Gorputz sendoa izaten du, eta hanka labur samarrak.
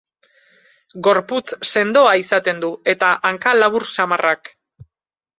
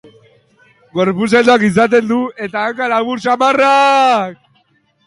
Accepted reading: first